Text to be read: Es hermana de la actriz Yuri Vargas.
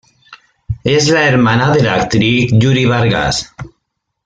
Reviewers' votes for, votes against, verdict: 0, 3, rejected